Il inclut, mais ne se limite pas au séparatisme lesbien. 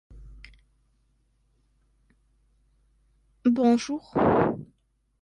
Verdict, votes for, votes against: rejected, 0, 2